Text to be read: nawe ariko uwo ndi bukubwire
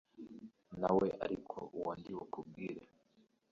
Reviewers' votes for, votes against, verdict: 1, 2, rejected